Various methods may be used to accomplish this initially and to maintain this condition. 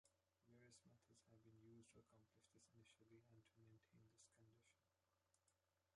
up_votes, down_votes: 0, 2